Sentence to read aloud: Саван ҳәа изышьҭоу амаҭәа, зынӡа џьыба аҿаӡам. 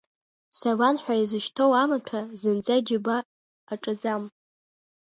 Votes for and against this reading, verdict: 0, 2, rejected